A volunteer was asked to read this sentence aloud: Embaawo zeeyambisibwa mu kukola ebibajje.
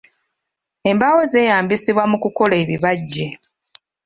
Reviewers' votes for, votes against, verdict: 2, 1, accepted